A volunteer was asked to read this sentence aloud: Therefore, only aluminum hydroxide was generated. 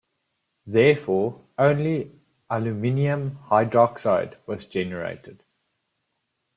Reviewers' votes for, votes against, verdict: 2, 1, accepted